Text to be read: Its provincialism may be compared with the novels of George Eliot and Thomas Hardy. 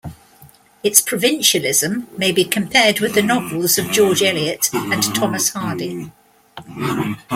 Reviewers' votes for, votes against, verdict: 2, 0, accepted